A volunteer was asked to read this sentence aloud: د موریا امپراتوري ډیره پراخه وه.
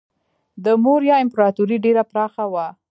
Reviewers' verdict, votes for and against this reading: accepted, 2, 1